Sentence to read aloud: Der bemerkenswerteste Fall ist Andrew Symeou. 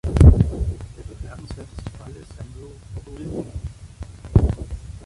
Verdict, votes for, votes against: rejected, 0, 2